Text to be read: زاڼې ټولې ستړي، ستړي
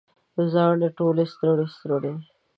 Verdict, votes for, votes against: rejected, 1, 2